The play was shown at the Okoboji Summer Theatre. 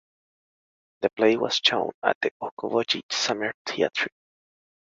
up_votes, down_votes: 2, 0